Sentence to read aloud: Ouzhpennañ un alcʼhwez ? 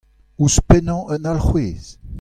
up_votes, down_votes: 2, 0